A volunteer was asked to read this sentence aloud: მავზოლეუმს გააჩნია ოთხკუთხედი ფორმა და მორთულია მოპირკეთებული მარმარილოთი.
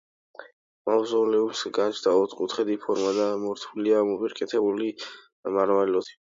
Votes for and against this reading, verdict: 1, 2, rejected